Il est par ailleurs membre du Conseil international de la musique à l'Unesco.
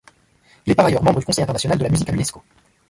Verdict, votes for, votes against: rejected, 0, 2